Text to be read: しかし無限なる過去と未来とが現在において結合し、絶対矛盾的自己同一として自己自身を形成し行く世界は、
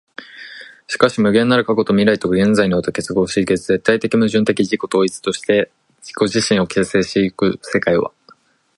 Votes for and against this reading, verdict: 2, 1, accepted